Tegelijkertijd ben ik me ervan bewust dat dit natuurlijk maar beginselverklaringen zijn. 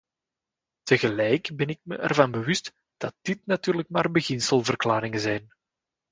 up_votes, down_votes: 0, 2